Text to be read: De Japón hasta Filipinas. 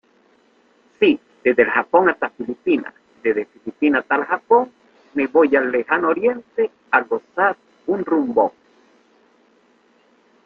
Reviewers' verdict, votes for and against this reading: rejected, 0, 2